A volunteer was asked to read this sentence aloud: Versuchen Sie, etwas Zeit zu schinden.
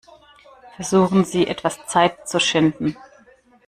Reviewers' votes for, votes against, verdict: 2, 0, accepted